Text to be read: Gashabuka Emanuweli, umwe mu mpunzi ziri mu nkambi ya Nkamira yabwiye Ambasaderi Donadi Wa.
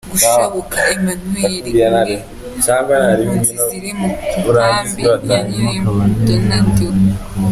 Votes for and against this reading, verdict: 0, 2, rejected